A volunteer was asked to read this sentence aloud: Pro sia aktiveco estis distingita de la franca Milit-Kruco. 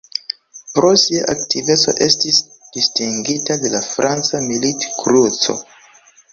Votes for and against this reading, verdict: 2, 0, accepted